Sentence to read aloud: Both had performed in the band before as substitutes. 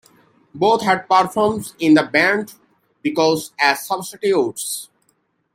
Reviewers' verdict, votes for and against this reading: rejected, 0, 2